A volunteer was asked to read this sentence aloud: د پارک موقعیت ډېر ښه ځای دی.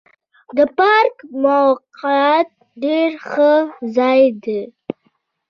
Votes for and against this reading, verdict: 0, 2, rejected